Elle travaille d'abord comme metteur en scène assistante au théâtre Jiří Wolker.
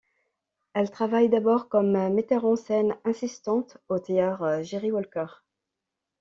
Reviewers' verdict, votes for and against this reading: rejected, 1, 2